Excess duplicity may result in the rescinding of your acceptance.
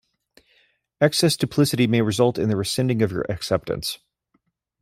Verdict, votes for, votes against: accepted, 2, 0